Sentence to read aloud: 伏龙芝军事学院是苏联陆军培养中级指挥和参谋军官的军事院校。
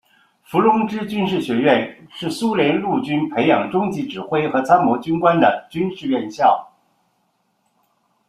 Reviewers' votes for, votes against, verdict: 2, 0, accepted